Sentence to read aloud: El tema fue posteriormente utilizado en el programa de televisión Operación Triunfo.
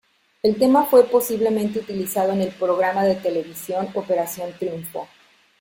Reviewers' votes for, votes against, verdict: 0, 2, rejected